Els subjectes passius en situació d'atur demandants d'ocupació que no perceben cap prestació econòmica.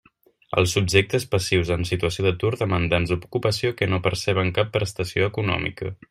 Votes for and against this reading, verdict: 0, 2, rejected